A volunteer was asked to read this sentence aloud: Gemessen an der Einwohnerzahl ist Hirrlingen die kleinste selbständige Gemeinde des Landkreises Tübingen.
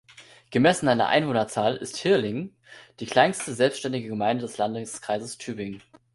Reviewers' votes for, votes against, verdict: 1, 2, rejected